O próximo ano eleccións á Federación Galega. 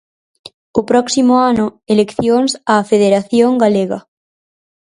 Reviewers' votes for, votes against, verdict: 2, 2, rejected